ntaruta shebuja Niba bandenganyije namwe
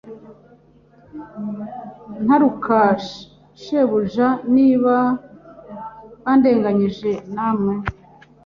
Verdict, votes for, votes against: rejected, 0, 2